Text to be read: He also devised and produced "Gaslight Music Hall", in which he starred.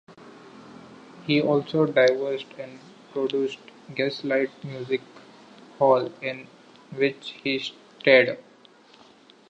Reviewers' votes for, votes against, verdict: 0, 2, rejected